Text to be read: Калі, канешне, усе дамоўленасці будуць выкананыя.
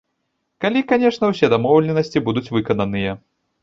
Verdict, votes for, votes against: rejected, 1, 2